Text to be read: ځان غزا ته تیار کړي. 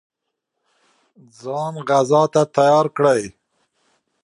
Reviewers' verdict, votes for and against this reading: accepted, 2, 0